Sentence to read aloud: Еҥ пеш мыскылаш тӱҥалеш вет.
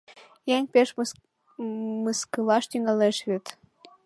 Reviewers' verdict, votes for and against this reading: rejected, 0, 2